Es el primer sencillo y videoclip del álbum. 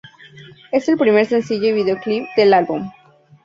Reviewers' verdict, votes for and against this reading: accepted, 2, 0